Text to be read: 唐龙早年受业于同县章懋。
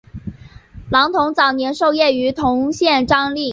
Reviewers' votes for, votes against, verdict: 1, 4, rejected